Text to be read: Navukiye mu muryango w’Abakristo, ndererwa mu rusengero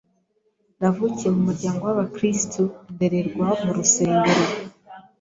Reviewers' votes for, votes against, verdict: 2, 0, accepted